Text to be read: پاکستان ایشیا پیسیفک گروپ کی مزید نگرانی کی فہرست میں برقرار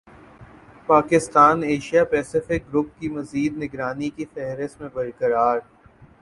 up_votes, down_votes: 5, 1